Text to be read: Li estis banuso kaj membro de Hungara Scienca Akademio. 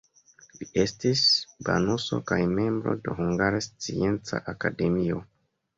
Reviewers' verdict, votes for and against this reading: accepted, 2, 0